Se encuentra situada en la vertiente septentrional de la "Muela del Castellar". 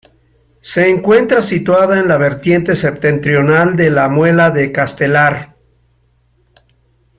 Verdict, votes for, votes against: rejected, 1, 2